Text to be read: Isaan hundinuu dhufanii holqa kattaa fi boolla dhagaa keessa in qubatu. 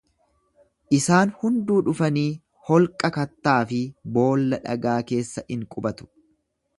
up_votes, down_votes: 0, 2